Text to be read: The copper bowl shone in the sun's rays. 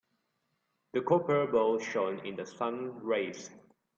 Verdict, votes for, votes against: rejected, 0, 2